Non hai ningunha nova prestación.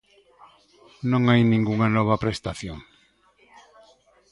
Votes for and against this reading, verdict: 2, 0, accepted